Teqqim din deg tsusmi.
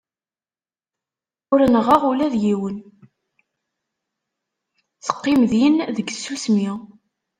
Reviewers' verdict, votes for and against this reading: rejected, 1, 2